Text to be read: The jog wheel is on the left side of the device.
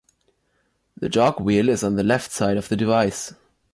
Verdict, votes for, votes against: accepted, 2, 0